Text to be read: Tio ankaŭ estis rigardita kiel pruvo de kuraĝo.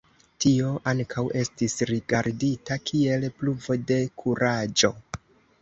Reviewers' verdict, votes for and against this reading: accepted, 2, 1